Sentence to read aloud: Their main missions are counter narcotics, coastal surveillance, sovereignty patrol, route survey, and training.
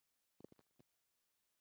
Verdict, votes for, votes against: rejected, 0, 2